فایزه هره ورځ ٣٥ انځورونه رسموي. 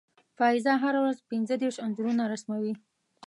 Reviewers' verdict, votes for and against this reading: rejected, 0, 2